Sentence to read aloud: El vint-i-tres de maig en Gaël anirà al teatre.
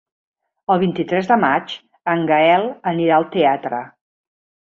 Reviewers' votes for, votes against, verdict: 3, 1, accepted